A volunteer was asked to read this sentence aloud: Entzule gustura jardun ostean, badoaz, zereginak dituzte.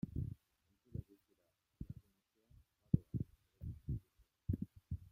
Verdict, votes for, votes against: rejected, 0, 2